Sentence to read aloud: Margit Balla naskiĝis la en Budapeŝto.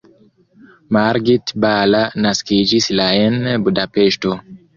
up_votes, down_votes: 1, 2